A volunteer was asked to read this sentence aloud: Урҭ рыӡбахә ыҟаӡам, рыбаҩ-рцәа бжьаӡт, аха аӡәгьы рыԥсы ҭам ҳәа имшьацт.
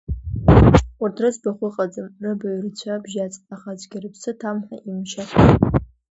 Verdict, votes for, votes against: rejected, 1, 2